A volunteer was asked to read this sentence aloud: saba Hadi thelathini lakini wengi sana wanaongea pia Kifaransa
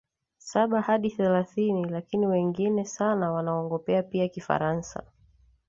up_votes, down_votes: 2, 0